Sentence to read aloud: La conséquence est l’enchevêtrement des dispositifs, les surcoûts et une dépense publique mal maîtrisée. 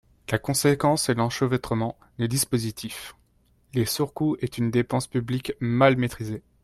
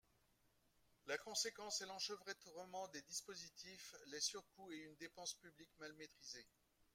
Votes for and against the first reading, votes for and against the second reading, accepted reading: 0, 2, 2, 0, second